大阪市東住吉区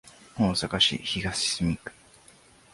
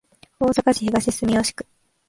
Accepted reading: second